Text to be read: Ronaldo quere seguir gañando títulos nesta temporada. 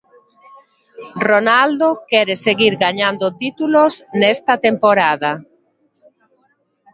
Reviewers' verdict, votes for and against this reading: accepted, 2, 0